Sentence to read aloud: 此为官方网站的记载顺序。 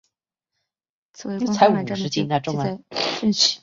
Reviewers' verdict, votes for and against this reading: rejected, 1, 3